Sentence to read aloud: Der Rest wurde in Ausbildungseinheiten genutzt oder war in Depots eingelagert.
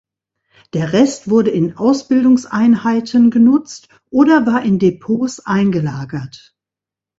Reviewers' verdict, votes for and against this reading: accepted, 2, 0